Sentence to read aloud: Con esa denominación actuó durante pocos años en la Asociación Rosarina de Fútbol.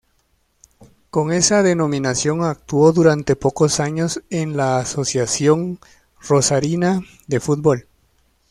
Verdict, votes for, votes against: accepted, 2, 0